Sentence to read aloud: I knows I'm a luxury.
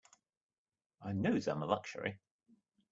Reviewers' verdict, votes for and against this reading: accepted, 2, 0